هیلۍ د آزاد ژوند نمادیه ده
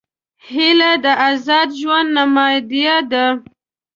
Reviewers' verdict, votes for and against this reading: rejected, 1, 2